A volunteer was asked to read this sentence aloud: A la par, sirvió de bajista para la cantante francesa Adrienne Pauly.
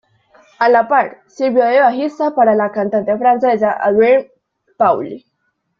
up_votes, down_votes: 0, 2